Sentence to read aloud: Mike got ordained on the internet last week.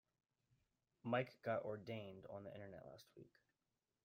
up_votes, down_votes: 0, 2